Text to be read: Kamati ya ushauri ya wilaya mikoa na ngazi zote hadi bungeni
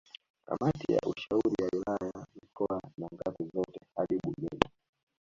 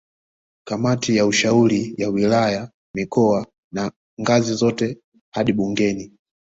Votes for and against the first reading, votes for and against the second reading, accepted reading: 1, 2, 2, 0, second